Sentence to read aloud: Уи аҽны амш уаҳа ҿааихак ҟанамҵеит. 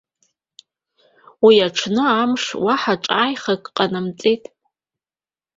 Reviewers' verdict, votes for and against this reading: rejected, 0, 2